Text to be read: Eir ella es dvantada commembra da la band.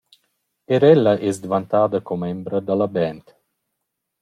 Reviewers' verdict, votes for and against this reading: accepted, 2, 1